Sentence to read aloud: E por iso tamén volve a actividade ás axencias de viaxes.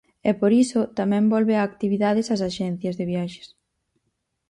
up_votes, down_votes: 2, 4